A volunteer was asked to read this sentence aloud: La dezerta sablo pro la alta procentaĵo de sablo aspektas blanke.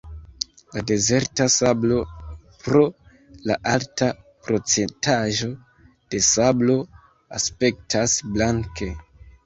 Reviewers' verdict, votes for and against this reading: accepted, 2, 0